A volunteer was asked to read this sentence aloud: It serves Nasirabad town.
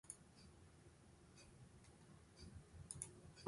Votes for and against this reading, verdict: 0, 3, rejected